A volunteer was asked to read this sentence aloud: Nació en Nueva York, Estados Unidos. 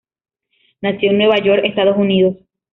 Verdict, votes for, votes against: accepted, 2, 0